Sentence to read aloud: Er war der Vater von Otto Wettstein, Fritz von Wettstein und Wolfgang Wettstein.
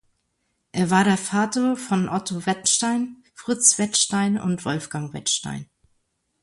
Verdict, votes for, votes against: rejected, 0, 2